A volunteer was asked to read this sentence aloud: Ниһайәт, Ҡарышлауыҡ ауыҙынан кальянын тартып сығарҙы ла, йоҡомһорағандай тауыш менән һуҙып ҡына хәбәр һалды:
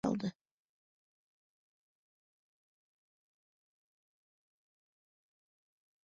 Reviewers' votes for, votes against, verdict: 0, 2, rejected